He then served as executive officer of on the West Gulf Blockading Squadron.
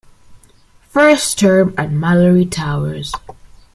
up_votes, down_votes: 0, 2